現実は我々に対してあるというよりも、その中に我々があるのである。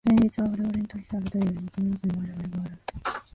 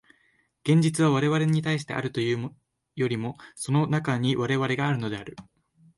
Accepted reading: second